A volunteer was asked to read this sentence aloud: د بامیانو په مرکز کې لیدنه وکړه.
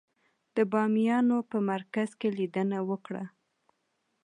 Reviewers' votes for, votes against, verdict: 2, 1, accepted